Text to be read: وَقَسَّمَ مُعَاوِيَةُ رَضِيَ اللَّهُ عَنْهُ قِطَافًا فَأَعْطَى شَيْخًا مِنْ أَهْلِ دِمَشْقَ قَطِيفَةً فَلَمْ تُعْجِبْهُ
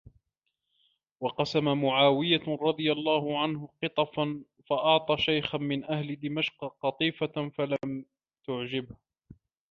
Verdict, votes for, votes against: rejected, 0, 2